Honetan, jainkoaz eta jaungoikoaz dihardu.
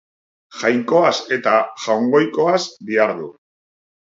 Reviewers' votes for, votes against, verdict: 2, 5, rejected